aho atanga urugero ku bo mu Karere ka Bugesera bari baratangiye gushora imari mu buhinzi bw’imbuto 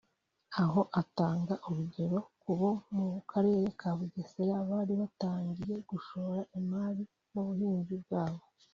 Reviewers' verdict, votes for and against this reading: rejected, 0, 2